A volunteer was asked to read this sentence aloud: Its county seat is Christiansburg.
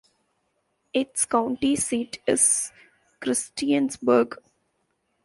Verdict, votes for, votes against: accepted, 2, 0